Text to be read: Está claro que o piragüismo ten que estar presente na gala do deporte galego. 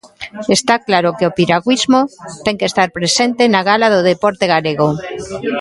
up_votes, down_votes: 1, 2